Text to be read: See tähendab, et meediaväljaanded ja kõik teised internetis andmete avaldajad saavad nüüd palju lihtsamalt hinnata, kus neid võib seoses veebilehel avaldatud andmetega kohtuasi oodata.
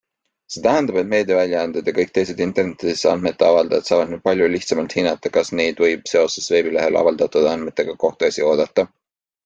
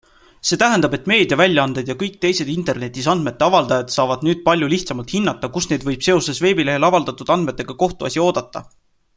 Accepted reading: second